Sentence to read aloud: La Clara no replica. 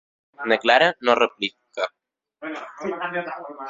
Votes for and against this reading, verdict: 0, 2, rejected